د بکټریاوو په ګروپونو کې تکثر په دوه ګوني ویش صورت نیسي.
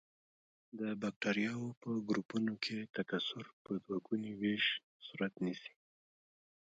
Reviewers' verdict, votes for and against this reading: rejected, 0, 2